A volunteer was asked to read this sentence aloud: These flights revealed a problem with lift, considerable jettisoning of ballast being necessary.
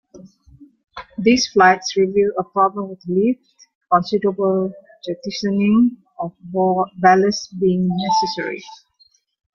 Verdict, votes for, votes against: rejected, 0, 2